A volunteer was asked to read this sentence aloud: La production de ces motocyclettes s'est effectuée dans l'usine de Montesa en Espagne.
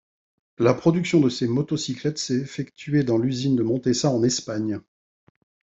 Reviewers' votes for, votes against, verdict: 2, 1, accepted